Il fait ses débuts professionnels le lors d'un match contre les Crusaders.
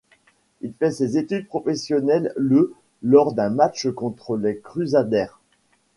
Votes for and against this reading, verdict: 0, 2, rejected